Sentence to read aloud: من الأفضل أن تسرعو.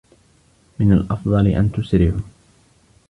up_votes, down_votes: 2, 0